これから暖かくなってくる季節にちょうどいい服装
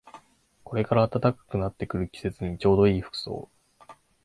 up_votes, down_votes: 2, 0